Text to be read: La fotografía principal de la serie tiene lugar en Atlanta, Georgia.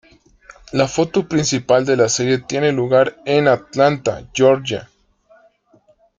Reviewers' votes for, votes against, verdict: 0, 2, rejected